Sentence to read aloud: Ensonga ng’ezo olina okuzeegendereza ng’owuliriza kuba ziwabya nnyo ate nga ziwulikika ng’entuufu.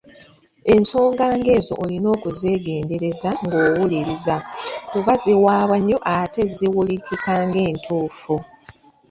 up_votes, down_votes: 0, 2